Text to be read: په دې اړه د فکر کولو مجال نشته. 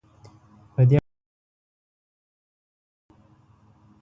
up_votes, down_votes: 0, 2